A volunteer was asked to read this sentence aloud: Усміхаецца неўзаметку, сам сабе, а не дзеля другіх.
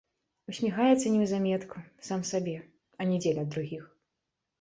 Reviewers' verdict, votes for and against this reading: accepted, 2, 0